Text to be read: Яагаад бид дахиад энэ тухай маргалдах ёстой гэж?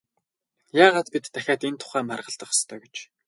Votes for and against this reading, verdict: 0, 2, rejected